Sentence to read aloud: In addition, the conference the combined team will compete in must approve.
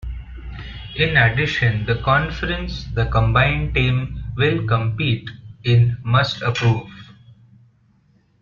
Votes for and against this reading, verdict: 0, 2, rejected